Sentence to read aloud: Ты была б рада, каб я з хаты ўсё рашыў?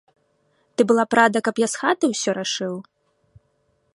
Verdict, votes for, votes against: accepted, 2, 0